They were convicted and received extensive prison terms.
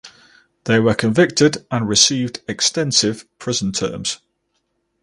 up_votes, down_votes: 4, 0